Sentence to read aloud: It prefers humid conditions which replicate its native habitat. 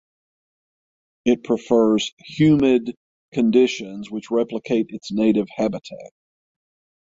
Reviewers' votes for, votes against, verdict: 6, 0, accepted